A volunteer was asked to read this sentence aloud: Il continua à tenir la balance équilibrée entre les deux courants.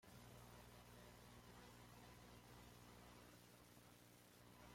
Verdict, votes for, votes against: rejected, 1, 2